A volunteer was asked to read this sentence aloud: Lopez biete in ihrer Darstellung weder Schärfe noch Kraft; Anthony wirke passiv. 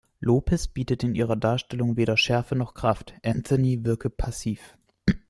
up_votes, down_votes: 1, 2